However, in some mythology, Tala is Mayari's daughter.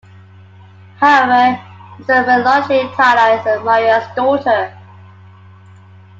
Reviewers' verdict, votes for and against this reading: rejected, 0, 2